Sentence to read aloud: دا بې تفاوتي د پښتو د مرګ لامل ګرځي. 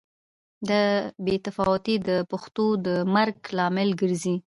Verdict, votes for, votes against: accepted, 2, 1